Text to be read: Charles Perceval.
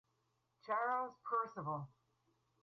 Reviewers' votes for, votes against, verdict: 2, 2, rejected